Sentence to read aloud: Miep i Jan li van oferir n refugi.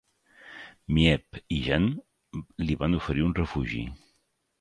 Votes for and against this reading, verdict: 1, 2, rejected